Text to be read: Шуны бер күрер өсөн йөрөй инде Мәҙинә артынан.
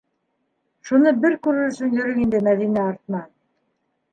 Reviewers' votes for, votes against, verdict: 0, 2, rejected